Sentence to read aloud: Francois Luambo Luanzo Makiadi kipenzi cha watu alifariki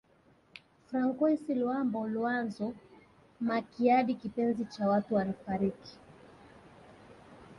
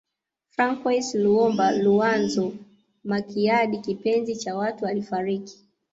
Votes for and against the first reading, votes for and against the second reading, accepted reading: 3, 0, 0, 2, first